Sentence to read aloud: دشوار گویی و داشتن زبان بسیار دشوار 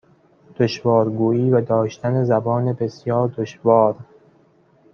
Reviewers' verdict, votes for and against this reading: accepted, 2, 1